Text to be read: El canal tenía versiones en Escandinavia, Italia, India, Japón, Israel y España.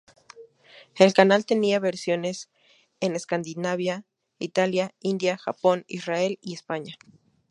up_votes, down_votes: 2, 0